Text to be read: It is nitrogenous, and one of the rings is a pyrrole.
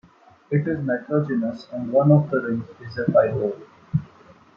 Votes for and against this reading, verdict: 2, 0, accepted